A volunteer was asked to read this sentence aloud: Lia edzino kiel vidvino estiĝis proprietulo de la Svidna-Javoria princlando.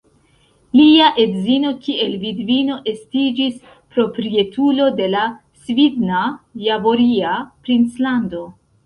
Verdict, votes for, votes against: rejected, 1, 3